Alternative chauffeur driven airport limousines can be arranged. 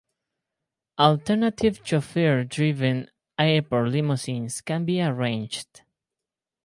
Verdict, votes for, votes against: rejected, 2, 2